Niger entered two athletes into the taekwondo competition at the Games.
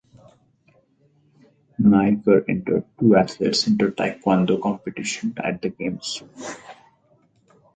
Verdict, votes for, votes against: rejected, 0, 4